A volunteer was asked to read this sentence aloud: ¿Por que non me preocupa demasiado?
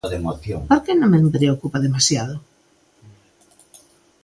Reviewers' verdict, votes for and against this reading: accepted, 2, 1